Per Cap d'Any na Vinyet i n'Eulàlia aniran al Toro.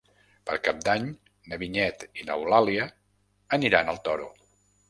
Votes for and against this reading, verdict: 4, 0, accepted